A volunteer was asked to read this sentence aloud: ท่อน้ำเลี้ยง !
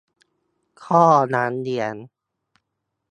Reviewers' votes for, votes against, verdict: 2, 0, accepted